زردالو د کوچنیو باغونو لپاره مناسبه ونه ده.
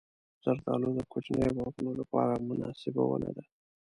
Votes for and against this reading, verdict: 0, 2, rejected